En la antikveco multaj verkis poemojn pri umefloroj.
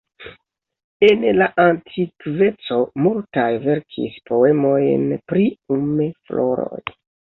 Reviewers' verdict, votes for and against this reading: rejected, 1, 2